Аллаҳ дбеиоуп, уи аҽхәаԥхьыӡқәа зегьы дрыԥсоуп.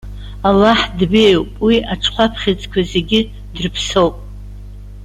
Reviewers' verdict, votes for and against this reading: accepted, 2, 0